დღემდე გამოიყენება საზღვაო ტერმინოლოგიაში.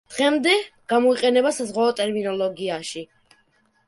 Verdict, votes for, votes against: rejected, 0, 2